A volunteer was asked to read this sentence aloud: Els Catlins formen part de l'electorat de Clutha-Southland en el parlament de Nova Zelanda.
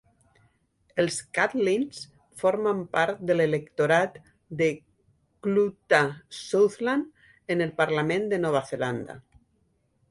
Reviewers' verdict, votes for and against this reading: rejected, 1, 2